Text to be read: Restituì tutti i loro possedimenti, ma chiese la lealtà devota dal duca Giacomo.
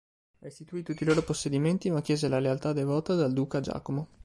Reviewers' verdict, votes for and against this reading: accepted, 2, 0